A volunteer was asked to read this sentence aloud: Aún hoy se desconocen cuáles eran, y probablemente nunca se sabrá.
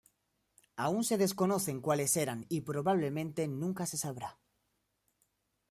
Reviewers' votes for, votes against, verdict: 1, 2, rejected